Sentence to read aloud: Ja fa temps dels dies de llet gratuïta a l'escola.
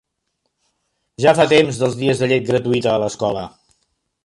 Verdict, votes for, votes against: accepted, 3, 0